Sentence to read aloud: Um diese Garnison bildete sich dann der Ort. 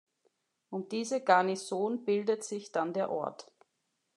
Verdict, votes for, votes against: rejected, 1, 2